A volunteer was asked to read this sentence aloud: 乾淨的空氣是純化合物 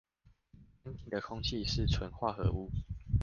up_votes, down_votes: 1, 2